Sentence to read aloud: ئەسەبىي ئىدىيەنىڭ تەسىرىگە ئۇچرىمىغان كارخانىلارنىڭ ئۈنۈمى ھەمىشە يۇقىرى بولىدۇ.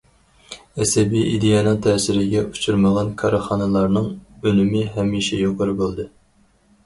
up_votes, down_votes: 0, 4